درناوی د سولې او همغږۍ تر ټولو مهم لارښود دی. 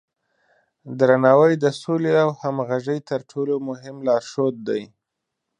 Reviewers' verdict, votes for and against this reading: accepted, 2, 0